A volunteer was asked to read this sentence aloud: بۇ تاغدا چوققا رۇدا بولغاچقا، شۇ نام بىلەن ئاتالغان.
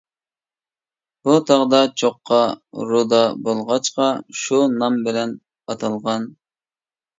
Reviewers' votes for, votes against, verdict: 2, 0, accepted